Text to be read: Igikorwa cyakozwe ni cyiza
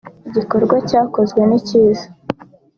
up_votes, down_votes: 2, 0